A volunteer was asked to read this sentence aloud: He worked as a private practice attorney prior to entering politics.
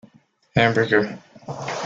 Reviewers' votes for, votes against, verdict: 0, 2, rejected